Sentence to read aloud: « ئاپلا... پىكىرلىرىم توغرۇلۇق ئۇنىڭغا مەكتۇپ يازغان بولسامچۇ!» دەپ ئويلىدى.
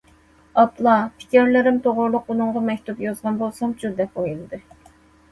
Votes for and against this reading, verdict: 2, 0, accepted